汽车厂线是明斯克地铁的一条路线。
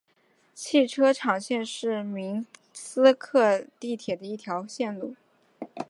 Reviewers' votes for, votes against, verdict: 2, 0, accepted